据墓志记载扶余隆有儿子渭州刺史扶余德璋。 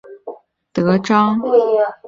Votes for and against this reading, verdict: 0, 3, rejected